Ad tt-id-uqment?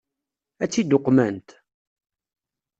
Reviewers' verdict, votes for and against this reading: accepted, 2, 0